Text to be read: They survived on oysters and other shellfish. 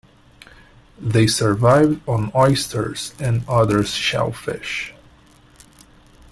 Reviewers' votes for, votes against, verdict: 0, 2, rejected